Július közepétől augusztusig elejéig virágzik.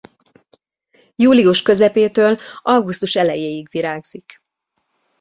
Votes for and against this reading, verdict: 1, 2, rejected